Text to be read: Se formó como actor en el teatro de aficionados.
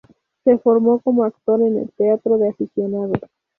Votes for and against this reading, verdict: 0, 2, rejected